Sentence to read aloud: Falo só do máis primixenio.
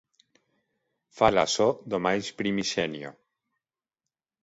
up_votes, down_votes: 1, 2